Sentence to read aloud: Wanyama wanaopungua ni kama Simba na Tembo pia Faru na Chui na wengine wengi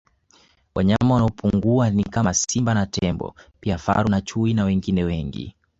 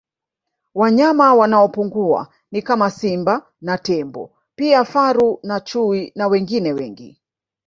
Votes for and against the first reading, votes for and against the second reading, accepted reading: 2, 0, 1, 2, first